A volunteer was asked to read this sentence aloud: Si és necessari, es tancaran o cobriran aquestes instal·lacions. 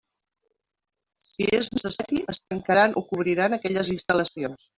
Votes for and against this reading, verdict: 1, 2, rejected